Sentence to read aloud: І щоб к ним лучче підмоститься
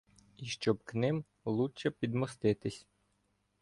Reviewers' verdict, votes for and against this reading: rejected, 1, 2